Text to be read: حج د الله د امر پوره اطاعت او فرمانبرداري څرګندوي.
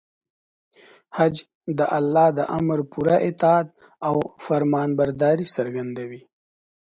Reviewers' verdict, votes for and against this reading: accepted, 2, 0